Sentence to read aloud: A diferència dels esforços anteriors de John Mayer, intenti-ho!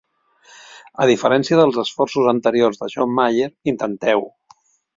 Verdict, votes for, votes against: rejected, 1, 2